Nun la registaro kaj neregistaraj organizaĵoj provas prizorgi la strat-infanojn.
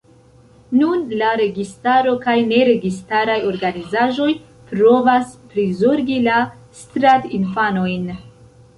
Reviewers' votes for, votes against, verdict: 2, 1, accepted